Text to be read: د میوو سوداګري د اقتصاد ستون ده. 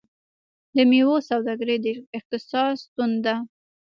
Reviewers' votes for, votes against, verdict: 1, 2, rejected